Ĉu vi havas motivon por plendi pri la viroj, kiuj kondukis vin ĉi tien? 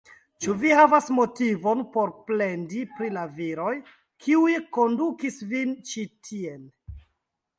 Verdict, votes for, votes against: rejected, 1, 2